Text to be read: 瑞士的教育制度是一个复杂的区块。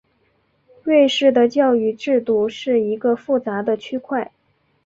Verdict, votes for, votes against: accepted, 2, 0